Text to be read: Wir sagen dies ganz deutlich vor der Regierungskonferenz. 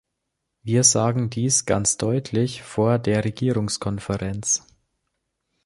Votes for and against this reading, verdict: 2, 0, accepted